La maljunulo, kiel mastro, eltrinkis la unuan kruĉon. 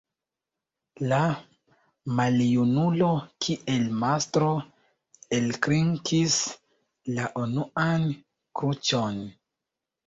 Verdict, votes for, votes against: rejected, 1, 2